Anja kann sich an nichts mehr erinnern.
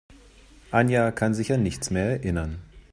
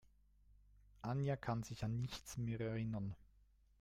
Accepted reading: first